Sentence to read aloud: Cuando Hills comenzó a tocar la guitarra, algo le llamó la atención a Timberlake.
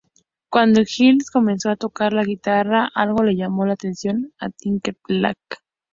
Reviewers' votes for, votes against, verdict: 2, 0, accepted